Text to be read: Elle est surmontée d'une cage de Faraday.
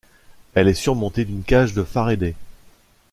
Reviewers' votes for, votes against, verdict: 1, 2, rejected